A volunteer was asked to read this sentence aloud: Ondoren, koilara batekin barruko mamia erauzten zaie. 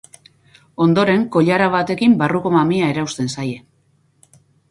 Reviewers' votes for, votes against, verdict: 0, 2, rejected